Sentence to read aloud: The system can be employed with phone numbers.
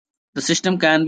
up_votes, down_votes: 0, 2